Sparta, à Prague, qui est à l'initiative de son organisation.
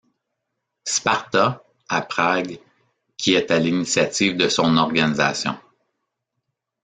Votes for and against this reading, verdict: 2, 0, accepted